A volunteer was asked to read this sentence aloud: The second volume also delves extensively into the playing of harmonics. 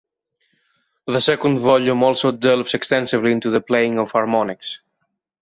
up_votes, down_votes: 2, 0